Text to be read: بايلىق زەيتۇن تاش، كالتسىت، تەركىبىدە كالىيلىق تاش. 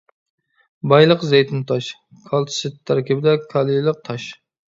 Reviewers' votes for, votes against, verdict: 1, 2, rejected